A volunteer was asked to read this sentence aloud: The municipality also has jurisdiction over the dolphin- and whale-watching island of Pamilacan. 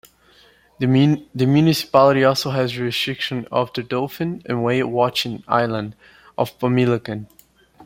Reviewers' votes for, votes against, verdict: 2, 1, accepted